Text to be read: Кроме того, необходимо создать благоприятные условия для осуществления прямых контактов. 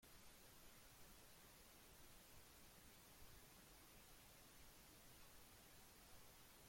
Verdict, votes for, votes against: rejected, 0, 2